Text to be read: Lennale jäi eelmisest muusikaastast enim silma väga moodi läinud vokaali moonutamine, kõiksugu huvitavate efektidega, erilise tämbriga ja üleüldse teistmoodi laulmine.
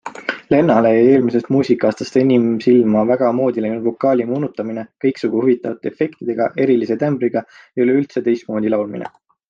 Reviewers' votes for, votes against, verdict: 2, 0, accepted